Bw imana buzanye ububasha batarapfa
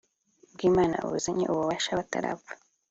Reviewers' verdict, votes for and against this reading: accepted, 2, 0